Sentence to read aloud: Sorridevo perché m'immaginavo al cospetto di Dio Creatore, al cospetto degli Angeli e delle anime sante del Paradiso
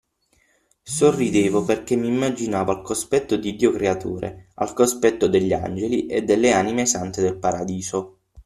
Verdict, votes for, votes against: accepted, 6, 0